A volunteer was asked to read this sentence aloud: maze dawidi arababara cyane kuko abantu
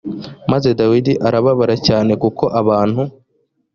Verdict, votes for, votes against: accepted, 2, 0